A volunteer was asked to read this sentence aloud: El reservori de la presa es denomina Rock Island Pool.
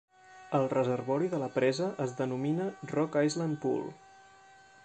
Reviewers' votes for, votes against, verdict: 3, 0, accepted